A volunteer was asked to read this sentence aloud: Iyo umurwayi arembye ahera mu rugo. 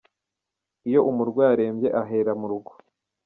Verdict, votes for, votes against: accepted, 2, 1